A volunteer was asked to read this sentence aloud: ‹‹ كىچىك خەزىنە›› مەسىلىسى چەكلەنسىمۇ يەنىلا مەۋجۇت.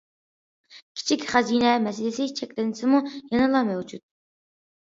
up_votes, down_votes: 2, 1